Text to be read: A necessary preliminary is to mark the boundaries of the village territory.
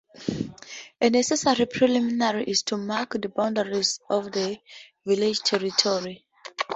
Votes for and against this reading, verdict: 2, 0, accepted